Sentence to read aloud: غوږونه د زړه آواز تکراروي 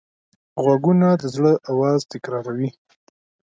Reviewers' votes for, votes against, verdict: 2, 0, accepted